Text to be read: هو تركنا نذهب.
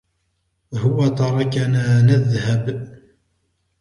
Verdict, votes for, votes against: accepted, 2, 1